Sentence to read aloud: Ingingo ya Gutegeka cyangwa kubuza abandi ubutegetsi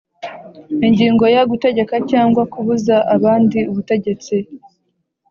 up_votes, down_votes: 2, 0